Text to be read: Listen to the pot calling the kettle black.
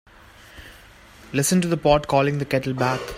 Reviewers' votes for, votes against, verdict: 1, 2, rejected